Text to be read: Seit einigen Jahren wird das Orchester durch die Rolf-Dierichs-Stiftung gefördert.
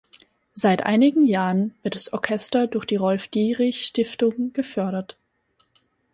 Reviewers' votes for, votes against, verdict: 0, 6, rejected